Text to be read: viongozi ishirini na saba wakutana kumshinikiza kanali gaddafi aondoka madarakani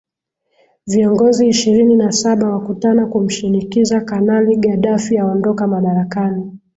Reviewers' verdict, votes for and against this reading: accepted, 2, 0